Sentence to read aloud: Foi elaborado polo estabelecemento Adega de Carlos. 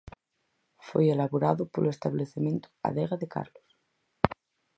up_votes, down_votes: 2, 2